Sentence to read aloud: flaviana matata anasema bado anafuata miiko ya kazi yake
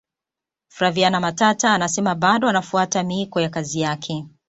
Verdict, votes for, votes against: accepted, 2, 0